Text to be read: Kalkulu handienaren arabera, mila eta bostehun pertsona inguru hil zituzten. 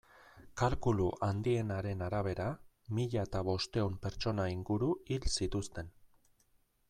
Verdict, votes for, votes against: accepted, 2, 0